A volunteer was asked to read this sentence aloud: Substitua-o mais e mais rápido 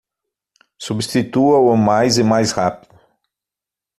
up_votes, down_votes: 3, 6